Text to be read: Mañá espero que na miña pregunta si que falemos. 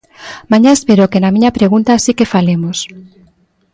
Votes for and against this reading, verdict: 2, 0, accepted